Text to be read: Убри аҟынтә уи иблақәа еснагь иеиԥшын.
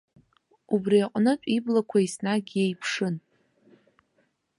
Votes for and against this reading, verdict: 1, 2, rejected